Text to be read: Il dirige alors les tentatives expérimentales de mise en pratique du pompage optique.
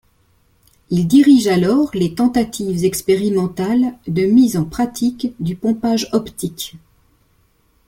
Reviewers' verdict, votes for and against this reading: accepted, 2, 0